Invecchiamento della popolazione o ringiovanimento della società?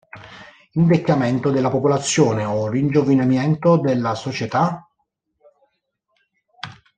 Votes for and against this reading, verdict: 0, 2, rejected